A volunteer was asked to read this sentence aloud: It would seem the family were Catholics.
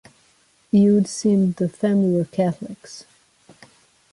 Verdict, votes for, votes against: accepted, 2, 0